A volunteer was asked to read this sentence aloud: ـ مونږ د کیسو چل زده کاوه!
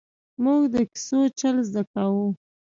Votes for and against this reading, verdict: 3, 0, accepted